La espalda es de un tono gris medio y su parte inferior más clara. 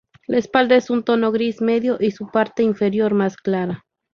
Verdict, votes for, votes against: rejected, 0, 2